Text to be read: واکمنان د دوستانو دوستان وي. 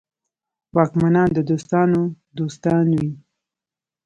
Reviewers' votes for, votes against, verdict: 2, 0, accepted